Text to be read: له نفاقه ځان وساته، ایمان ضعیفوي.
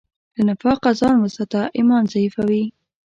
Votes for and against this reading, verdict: 2, 0, accepted